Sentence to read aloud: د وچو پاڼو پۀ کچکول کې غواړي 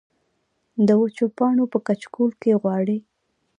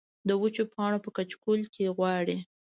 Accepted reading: first